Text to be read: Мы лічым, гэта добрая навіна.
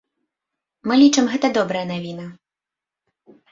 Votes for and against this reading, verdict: 2, 0, accepted